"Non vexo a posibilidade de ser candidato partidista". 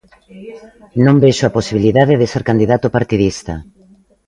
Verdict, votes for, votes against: accepted, 2, 1